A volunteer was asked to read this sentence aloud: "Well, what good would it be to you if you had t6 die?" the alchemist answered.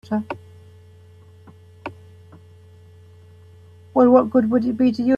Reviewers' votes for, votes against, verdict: 0, 2, rejected